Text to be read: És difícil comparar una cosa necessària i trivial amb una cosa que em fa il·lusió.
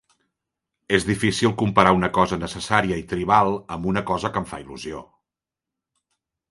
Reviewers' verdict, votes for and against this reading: rejected, 0, 2